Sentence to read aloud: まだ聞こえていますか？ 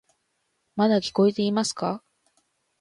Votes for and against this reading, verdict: 3, 0, accepted